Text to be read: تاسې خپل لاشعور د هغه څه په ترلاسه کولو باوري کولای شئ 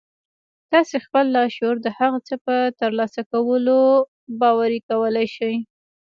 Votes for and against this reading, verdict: 0, 2, rejected